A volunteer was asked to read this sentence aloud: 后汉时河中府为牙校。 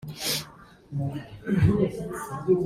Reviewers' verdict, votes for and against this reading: rejected, 0, 2